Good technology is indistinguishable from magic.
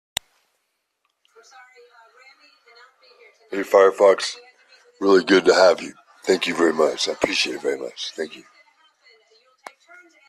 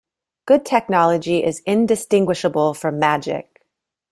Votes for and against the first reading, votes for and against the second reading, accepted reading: 0, 2, 2, 0, second